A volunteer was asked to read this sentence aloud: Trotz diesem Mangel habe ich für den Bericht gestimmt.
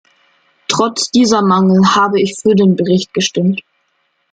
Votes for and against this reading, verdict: 1, 2, rejected